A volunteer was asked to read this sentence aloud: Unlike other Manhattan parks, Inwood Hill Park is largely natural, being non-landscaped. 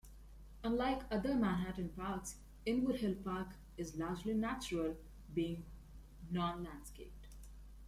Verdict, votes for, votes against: accepted, 2, 0